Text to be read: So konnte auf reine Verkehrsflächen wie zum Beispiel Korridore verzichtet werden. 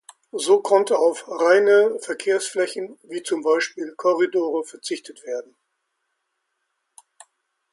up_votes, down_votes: 2, 0